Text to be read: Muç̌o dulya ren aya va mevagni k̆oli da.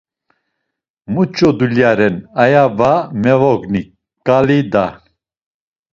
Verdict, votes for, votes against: rejected, 1, 2